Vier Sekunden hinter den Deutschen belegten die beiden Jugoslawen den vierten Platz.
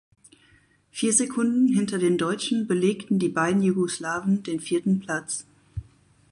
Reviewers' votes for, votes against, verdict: 4, 0, accepted